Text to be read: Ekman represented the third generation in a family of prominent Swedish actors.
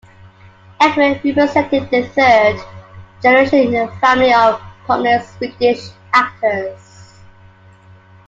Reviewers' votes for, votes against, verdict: 2, 1, accepted